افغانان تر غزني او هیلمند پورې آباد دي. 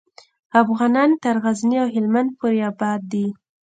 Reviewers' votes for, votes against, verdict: 1, 2, rejected